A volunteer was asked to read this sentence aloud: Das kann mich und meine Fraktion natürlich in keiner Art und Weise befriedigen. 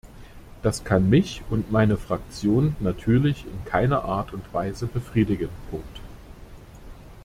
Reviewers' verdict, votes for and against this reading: rejected, 0, 2